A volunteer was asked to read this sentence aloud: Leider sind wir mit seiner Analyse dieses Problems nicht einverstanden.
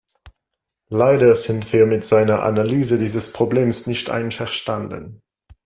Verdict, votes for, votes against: accepted, 2, 0